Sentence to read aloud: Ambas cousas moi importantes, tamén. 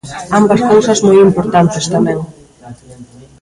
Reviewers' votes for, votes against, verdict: 2, 1, accepted